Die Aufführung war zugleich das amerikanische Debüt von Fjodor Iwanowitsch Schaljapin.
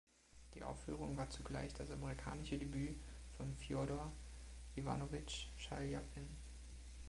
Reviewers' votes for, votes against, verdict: 1, 2, rejected